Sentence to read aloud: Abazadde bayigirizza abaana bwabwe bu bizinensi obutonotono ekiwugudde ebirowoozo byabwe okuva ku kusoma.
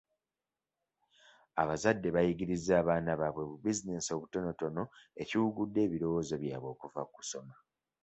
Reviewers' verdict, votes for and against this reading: accepted, 2, 1